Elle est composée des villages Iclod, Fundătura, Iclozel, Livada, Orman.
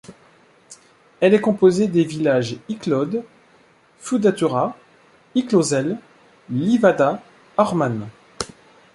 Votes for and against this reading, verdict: 0, 2, rejected